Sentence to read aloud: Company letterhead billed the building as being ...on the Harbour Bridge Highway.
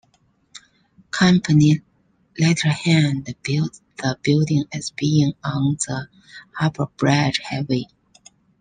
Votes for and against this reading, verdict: 2, 1, accepted